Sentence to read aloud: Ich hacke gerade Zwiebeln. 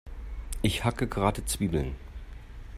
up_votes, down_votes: 2, 0